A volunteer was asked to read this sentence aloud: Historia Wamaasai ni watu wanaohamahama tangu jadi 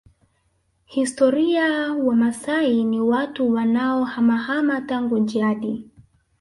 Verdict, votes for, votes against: rejected, 0, 2